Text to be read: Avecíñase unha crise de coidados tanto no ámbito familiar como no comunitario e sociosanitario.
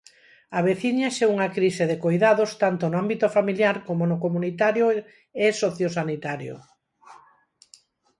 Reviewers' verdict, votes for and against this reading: rejected, 0, 4